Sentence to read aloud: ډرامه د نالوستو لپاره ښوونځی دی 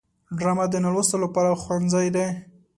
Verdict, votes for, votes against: accepted, 2, 0